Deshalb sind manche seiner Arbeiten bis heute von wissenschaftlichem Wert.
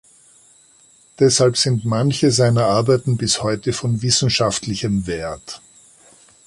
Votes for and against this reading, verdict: 2, 0, accepted